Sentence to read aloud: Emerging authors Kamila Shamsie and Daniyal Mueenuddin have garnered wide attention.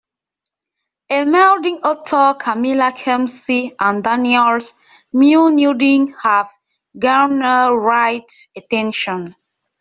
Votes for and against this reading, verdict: 0, 2, rejected